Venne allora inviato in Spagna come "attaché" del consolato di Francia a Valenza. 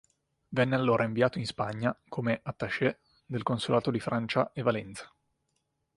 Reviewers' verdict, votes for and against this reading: rejected, 1, 3